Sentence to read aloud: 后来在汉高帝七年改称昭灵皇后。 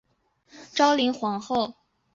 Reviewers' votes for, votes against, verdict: 1, 2, rejected